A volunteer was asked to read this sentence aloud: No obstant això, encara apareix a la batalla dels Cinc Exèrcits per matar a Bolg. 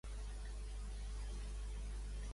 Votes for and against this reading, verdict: 0, 2, rejected